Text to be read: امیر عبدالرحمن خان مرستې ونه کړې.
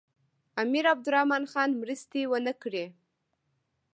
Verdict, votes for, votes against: rejected, 1, 2